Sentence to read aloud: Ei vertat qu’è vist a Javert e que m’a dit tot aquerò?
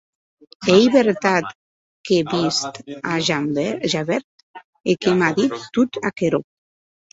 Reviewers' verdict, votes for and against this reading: rejected, 2, 2